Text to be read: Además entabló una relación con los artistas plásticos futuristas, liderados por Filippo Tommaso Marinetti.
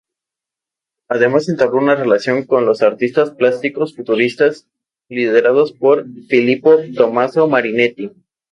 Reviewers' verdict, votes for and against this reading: accepted, 2, 0